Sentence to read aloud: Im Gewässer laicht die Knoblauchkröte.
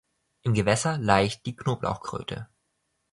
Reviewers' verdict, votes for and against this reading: accepted, 3, 0